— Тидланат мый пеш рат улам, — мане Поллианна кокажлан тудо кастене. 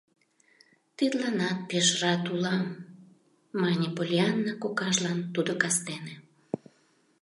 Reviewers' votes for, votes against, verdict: 0, 2, rejected